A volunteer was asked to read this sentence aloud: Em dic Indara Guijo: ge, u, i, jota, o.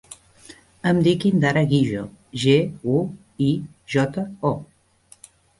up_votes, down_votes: 2, 0